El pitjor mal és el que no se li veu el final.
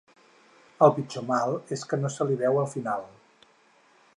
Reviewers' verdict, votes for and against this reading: rejected, 2, 6